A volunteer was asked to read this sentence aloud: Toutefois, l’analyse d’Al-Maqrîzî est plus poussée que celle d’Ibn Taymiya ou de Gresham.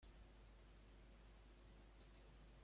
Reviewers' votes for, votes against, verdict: 1, 2, rejected